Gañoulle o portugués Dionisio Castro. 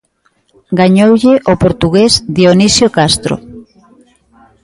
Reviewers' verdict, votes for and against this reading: accepted, 2, 0